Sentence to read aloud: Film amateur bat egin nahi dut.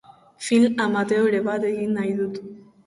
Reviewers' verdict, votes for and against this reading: rejected, 0, 2